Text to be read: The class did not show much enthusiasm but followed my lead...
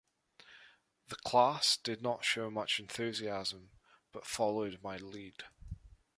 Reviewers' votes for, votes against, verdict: 2, 0, accepted